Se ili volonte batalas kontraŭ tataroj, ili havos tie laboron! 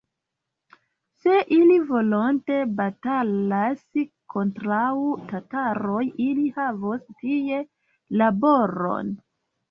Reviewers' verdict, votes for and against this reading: rejected, 1, 2